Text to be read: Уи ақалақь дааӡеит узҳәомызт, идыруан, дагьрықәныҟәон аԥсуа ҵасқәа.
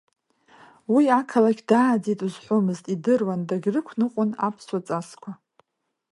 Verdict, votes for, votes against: accepted, 2, 1